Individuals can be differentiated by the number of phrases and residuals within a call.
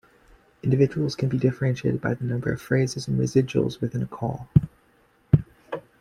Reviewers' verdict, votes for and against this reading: accepted, 2, 0